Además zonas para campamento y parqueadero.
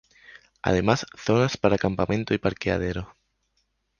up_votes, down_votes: 2, 0